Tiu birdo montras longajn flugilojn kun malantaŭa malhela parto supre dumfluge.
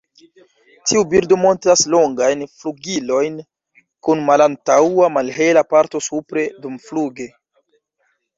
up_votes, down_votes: 0, 2